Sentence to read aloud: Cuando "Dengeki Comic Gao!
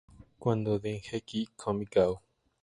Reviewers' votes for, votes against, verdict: 0, 2, rejected